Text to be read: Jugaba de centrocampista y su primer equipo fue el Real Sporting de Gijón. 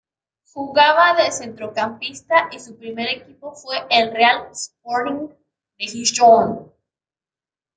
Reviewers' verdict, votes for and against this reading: rejected, 1, 2